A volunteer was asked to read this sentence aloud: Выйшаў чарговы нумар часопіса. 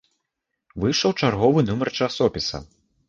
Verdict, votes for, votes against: accepted, 3, 0